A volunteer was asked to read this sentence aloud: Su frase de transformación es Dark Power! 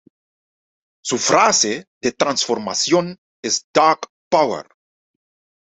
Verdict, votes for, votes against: accepted, 2, 1